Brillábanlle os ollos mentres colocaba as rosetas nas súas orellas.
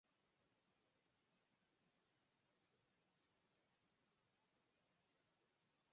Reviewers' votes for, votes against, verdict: 0, 4, rejected